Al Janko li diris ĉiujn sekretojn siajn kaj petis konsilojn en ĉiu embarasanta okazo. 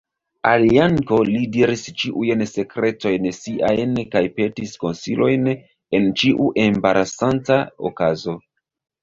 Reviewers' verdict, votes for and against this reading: accepted, 2, 0